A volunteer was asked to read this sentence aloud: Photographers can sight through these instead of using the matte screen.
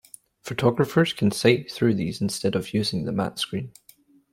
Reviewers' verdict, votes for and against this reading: accepted, 2, 0